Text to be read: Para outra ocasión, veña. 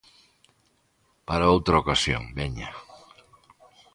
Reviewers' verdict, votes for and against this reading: accepted, 2, 0